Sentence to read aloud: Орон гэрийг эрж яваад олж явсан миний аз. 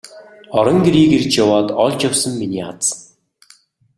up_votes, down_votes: 2, 0